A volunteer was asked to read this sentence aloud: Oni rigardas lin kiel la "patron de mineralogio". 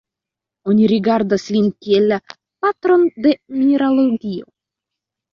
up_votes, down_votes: 2, 0